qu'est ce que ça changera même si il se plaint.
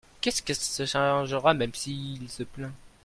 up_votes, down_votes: 0, 2